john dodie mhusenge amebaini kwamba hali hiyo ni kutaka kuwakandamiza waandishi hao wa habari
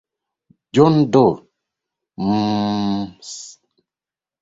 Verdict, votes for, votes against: rejected, 0, 2